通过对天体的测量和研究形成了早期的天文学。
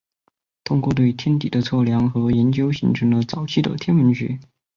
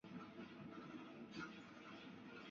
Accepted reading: first